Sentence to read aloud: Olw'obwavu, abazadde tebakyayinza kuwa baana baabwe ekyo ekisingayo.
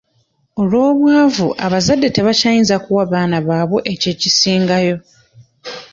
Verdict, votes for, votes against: rejected, 1, 2